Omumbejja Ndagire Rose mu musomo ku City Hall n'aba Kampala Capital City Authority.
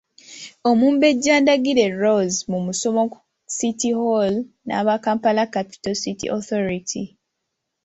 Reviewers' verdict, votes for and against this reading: accepted, 2, 0